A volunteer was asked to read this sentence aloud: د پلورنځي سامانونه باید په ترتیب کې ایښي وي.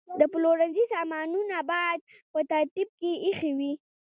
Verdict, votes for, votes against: accepted, 2, 0